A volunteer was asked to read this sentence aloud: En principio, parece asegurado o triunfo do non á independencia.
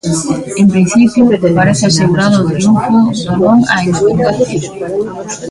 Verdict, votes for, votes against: rejected, 1, 2